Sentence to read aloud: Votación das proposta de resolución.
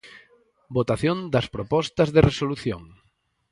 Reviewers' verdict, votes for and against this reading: accepted, 2, 0